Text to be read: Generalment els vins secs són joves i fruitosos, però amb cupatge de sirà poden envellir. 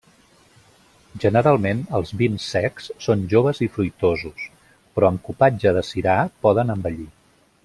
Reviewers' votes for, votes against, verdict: 2, 0, accepted